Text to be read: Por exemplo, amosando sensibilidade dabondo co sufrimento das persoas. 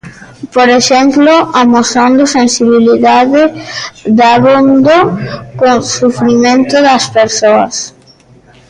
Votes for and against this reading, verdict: 1, 2, rejected